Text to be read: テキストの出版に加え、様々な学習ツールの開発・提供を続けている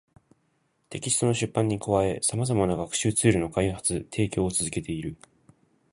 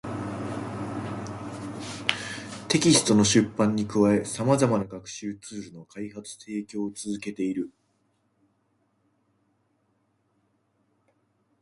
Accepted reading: second